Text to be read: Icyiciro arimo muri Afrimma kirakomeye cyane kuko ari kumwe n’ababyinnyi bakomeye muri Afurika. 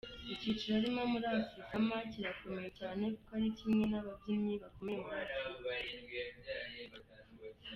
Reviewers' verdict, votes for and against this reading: rejected, 0, 2